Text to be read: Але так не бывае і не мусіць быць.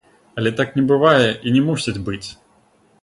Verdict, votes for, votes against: rejected, 0, 3